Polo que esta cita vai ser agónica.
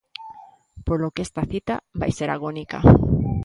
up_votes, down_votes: 0, 2